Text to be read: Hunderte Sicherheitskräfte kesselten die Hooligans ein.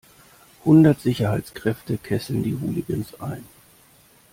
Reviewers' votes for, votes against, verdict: 0, 2, rejected